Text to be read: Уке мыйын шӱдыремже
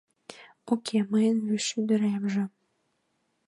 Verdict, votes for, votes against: rejected, 1, 2